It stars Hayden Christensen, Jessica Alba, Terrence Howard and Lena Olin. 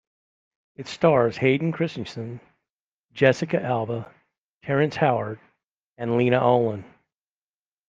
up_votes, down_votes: 2, 0